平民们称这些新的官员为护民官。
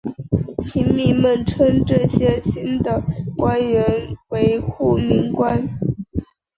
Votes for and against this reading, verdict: 2, 0, accepted